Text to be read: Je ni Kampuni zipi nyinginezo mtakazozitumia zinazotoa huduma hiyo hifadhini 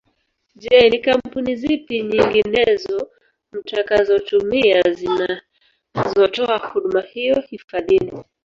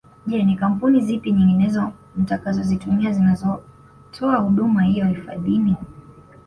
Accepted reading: second